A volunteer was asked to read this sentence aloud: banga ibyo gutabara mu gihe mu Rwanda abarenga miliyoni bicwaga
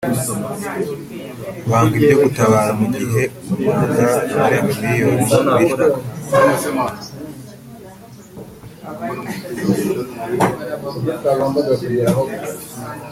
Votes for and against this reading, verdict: 0, 2, rejected